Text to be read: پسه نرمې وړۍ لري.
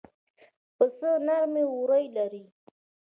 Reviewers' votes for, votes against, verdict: 2, 1, accepted